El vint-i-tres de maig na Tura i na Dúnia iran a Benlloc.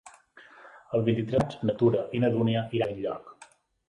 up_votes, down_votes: 1, 3